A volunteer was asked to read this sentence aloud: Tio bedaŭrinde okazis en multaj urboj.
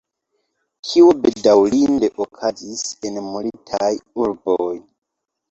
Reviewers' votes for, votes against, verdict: 2, 0, accepted